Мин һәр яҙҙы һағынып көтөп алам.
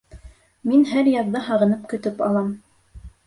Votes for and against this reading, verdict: 2, 0, accepted